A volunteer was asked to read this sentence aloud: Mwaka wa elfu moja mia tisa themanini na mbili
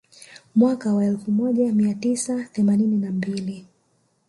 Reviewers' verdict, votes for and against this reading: rejected, 0, 2